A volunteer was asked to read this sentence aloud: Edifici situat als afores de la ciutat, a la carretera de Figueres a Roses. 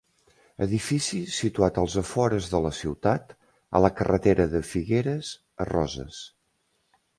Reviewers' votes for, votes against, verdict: 2, 0, accepted